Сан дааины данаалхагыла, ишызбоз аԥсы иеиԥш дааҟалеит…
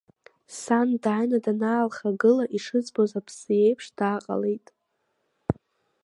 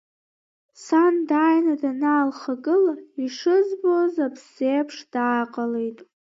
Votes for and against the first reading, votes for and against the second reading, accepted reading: 1, 2, 2, 1, second